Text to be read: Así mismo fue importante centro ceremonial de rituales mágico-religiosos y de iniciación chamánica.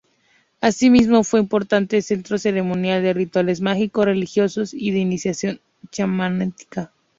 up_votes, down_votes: 0, 2